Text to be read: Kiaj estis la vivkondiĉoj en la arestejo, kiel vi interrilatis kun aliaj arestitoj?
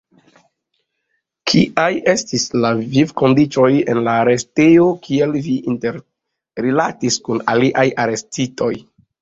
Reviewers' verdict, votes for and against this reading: accepted, 2, 0